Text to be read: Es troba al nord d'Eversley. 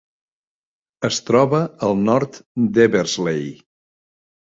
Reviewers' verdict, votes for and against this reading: rejected, 1, 2